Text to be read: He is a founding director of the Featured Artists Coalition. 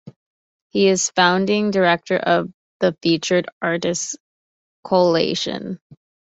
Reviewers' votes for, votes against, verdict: 0, 2, rejected